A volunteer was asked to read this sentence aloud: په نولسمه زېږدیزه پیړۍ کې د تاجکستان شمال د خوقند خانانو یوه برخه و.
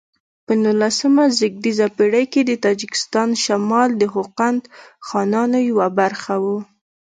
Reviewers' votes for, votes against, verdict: 2, 0, accepted